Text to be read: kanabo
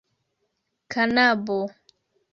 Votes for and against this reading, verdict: 2, 0, accepted